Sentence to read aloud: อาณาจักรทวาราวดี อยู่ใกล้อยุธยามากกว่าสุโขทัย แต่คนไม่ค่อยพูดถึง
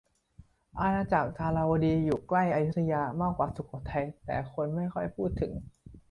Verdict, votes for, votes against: accepted, 2, 0